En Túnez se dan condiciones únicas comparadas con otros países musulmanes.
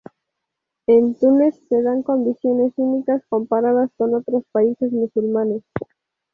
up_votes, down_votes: 2, 0